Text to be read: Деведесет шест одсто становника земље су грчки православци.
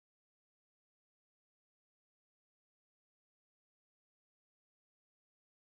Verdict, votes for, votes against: rejected, 0, 2